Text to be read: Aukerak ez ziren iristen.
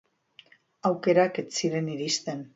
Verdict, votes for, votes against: accepted, 2, 0